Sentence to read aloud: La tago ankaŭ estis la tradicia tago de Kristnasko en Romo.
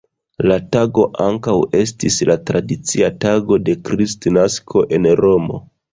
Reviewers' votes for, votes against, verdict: 2, 0, accepted